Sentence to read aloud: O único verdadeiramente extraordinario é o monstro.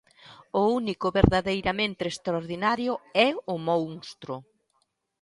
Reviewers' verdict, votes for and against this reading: rejected, 0, 2